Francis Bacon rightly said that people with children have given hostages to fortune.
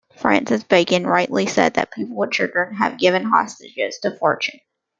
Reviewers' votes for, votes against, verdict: 0, 2, rejected